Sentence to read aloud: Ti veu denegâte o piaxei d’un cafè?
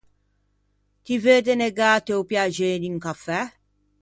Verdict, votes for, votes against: rejected, 1, 2